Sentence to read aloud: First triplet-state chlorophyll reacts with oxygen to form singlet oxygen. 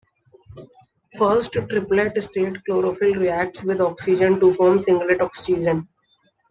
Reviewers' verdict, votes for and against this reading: rejected, 0, 2